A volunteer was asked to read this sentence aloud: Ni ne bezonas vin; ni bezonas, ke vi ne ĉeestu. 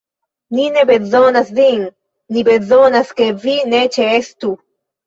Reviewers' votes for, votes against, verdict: 1, 2, rejected